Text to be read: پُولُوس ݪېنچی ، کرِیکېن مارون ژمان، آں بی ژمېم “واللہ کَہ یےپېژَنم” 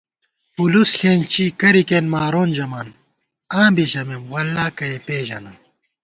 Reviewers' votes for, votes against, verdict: 2, 0, accepted